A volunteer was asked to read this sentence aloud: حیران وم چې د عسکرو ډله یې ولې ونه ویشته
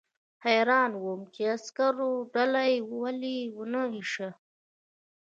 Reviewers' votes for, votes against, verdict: 0, 2, rejected